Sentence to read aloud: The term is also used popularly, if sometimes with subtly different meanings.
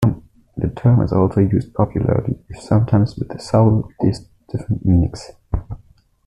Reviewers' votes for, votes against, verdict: 1, 2, rejected